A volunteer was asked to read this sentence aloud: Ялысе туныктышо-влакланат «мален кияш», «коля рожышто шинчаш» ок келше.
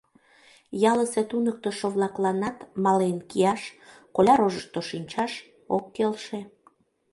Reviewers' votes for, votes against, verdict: 2, 0, accepted